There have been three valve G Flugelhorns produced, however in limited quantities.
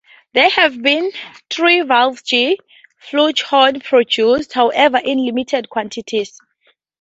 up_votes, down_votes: 2, 0